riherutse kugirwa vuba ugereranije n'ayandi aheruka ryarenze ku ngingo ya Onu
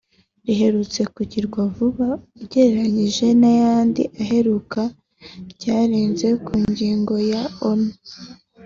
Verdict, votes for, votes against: accepted, 2, 0